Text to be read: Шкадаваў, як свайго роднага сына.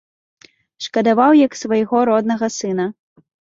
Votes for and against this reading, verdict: 2, 0, accepted